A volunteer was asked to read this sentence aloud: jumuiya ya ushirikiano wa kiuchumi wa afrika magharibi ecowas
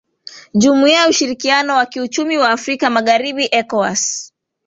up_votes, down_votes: 2, 0